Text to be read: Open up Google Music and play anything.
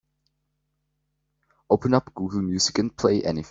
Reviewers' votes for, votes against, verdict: 1, 3, rejected